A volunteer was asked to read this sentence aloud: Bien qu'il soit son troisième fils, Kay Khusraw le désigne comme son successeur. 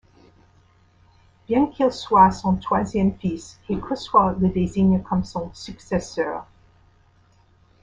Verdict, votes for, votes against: accepted, 2, 1